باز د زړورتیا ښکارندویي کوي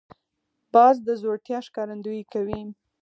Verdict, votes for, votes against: rejected, 2, 4